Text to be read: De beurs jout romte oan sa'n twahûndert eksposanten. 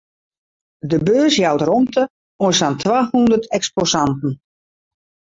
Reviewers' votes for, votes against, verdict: 2, 2, rejected